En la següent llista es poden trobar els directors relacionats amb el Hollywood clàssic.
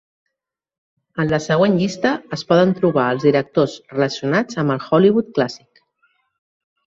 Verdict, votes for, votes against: accepted, 4, 0